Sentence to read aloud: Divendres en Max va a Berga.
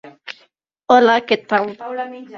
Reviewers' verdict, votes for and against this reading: rejected, 0, 2